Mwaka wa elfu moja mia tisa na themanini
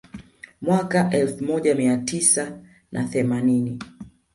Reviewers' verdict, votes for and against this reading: accepted, 2, 0